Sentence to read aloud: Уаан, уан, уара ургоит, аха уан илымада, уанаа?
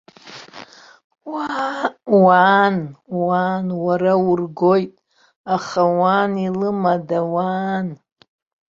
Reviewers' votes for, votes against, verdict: 1, 3, rejected